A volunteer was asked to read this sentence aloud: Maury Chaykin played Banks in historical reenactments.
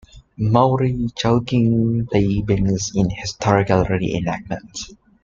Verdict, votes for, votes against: accepted, 2, 1